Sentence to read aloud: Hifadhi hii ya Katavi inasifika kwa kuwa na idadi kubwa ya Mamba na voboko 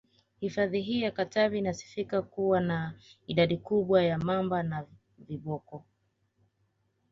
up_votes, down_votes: 2, 0